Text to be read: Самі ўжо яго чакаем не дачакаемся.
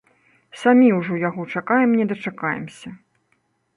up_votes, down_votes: 0, 2